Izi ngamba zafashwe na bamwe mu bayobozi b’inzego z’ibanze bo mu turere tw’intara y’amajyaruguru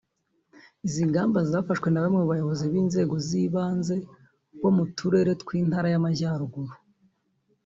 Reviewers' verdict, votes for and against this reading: accepted, 2, 1